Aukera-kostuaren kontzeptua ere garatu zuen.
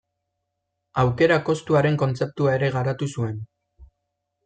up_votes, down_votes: 2, 0